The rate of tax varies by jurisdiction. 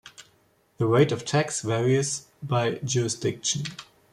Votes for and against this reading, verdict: 1, 2, rejected